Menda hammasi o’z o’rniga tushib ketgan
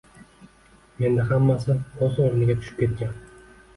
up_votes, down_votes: 2, 0